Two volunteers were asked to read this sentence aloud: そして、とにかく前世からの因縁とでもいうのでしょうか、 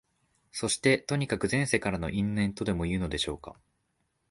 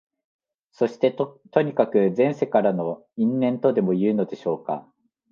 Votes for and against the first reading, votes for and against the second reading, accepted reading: 2, 0, 0, 2, first